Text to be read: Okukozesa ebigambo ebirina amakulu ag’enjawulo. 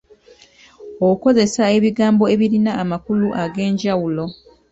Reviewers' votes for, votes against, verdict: 2, 1, accepted